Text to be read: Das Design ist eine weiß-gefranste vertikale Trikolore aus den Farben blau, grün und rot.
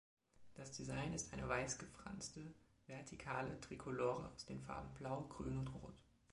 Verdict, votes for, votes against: accepted, 2, 0